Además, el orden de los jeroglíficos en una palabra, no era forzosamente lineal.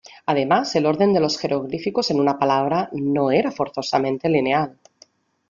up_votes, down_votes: 2, 0